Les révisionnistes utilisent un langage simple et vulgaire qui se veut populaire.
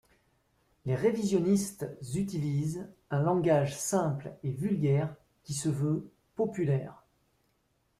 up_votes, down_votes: 1, 2